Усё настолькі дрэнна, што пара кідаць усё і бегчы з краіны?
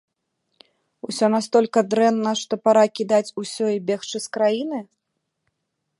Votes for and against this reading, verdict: 2, 1, accepted